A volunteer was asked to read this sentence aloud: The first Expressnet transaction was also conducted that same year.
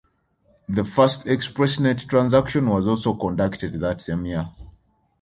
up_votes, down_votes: 1, 2